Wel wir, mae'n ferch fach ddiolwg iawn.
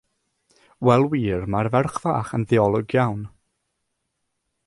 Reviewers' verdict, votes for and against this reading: accepted, 3, 0